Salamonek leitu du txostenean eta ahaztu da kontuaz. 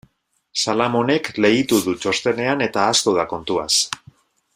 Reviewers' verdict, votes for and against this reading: accepted, 2, 0